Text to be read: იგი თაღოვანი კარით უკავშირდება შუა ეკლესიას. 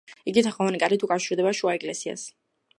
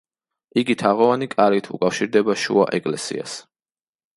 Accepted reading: second